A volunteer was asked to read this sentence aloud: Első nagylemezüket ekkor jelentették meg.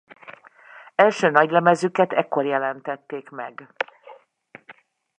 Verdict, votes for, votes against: rejected, 1, 2